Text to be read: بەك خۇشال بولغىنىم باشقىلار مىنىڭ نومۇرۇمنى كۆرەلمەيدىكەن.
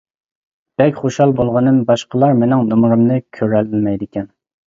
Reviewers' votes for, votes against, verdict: 2, 0, accepted